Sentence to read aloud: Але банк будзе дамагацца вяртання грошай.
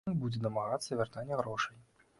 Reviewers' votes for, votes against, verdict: 0, 2, rejected